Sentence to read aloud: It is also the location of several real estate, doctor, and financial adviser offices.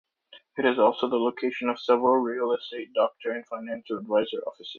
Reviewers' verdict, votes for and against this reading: rejected, 0, 2